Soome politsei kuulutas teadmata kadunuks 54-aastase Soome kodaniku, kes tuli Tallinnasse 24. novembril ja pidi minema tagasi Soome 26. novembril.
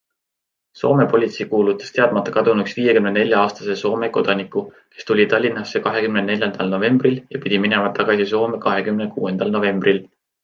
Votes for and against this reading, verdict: 0, 2, rejected